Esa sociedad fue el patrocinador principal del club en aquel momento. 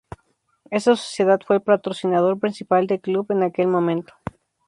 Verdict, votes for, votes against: accepted, 2, 0